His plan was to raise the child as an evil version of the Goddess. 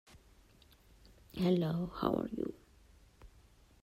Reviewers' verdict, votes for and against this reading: rejected, 0, 2